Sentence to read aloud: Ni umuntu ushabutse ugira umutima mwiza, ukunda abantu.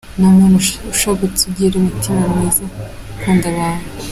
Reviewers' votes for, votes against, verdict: 2, 1, accepted